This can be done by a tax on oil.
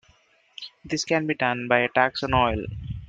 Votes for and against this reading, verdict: 0, 2, rejected